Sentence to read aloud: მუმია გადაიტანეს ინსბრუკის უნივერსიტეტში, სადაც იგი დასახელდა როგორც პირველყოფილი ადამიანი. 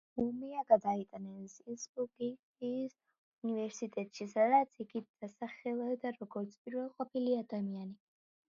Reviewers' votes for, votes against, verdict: 2, 1, accepted